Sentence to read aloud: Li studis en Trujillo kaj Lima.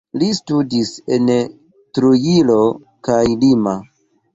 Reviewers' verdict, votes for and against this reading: accepted, 2, 0